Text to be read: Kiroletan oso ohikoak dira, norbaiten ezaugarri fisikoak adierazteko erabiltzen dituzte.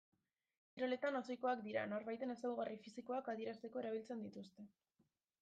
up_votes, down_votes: 1, 2